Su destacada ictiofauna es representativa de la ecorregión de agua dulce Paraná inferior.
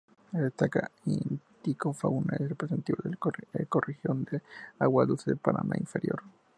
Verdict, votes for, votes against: rejected, 2, 2